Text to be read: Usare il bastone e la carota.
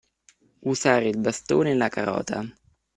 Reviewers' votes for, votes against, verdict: 2, 0, accepted